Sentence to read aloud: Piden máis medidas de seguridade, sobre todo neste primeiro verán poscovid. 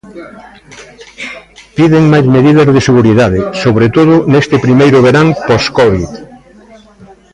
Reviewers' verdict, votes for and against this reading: rejected, 1, 2